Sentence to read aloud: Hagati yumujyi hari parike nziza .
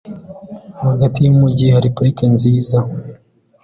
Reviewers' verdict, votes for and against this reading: accepted, 2, 0